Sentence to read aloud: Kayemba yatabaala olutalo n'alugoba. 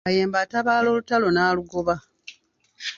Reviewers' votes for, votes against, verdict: 0, 2, rejected